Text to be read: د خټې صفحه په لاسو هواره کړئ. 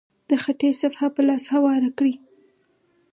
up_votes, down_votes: 4, 0